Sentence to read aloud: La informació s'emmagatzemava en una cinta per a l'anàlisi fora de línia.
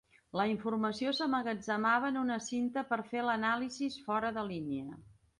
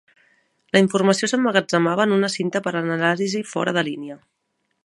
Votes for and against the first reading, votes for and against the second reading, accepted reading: 1, 2, 2, 1, second